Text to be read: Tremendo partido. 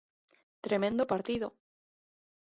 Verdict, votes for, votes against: accepted, 2, 0